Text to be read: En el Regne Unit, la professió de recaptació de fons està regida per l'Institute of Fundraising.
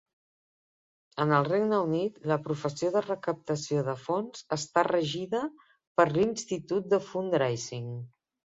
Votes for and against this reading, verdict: 1, 2, rejected